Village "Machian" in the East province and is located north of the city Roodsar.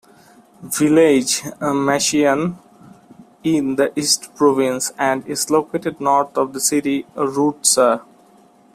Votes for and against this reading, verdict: 2, 0, accepted